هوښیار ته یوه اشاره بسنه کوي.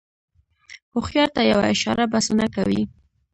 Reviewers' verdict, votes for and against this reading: rejected, 1, 2